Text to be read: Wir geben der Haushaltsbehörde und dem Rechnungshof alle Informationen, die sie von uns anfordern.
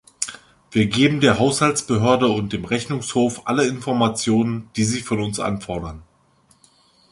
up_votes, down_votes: 2, 0